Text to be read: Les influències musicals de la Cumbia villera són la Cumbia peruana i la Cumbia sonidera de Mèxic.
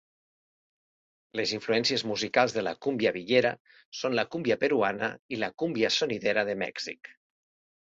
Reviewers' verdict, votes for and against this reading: accepted, 3, 0